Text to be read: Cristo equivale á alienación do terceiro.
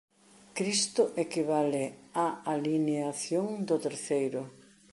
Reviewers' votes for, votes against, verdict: 1, 2, rejected